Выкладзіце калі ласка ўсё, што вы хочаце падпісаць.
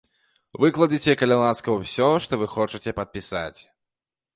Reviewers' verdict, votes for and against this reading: accepted, 2, 0